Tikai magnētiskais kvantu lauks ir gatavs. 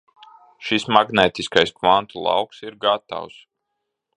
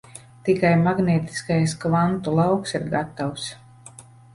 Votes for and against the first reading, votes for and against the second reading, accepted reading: 0, 2, 2, 0, second